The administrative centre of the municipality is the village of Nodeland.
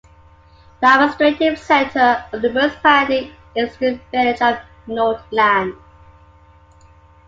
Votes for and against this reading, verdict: 2, 1, accepted